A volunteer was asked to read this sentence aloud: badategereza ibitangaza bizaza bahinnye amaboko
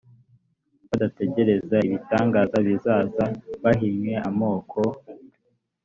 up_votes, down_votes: 1, 2